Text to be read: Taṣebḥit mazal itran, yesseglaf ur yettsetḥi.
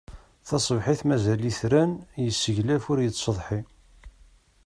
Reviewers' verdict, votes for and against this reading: accepted, 2, 0